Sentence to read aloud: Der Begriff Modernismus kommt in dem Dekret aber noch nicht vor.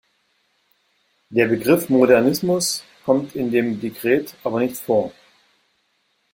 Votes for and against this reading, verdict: 1, 2, rejected